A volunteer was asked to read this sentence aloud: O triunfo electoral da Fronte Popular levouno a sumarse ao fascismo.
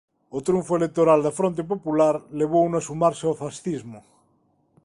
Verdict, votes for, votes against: accepted, 2, 0